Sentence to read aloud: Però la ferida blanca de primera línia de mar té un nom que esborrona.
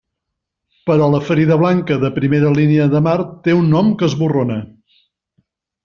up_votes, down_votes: 2, 0